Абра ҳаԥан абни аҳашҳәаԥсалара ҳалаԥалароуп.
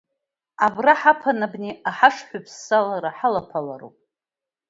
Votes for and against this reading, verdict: 2, 1, accepted